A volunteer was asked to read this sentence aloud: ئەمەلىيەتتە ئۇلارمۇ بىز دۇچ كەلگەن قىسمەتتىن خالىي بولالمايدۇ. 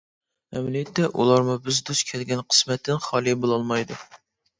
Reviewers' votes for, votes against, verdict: 2, 0, accepted